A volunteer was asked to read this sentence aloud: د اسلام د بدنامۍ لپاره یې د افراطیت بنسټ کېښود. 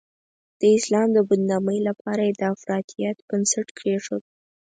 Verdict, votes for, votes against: accepted, 4, 2